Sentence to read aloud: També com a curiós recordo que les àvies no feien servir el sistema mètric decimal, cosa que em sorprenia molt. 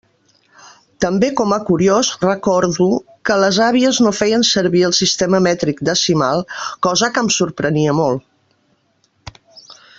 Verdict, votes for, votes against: accepted, 2, 0